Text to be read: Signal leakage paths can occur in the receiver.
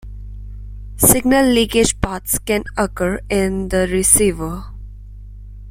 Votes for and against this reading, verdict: 2, 0, accepted